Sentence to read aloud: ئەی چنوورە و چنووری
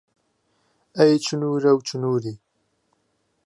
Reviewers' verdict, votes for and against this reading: accepted, 2, 0